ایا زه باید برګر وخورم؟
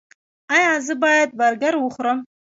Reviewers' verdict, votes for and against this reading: accepted, 2, 0